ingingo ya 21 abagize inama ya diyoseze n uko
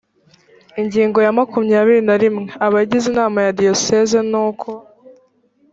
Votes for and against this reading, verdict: 0, 2, rejected